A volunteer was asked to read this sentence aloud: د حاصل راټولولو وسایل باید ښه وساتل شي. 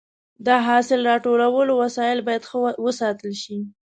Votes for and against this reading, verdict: 2, 0, accepted